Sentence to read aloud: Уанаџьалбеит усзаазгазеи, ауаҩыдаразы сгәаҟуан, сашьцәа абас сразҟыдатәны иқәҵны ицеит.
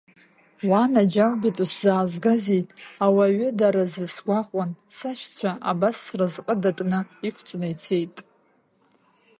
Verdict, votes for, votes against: rejected, 0, 2